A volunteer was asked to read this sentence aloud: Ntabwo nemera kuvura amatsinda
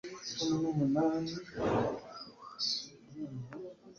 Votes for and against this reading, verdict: 1, 2, rejected